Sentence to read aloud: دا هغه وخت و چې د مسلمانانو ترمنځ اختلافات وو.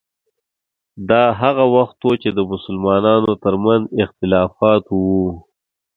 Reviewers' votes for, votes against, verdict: 2, 0, accepted